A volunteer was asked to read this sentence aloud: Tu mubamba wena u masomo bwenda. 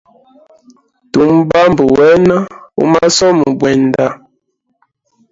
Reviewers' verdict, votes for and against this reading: rejected, 1, 2